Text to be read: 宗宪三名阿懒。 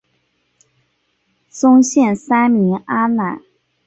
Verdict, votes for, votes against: accepted, 2, 0